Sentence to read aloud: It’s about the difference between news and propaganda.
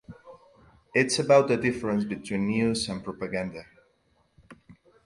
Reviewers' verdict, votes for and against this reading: rejected, 2, 2